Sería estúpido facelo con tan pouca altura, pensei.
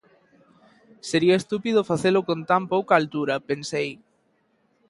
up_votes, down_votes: 2, 0